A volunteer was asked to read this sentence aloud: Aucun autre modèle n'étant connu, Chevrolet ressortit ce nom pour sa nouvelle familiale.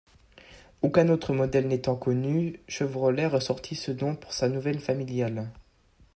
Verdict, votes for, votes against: accepted, 2, 0